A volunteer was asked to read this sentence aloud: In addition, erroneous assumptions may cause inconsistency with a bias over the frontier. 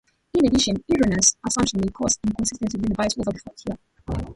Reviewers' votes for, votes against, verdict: 0, 2, rejected